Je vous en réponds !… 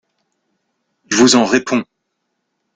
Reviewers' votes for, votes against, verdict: 0, 2, rejected